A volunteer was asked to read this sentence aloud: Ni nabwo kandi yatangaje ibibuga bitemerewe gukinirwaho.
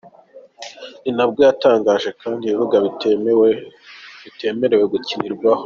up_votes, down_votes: 2, 4